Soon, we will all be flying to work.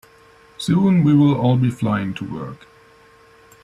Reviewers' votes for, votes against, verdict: 2, 0, accepted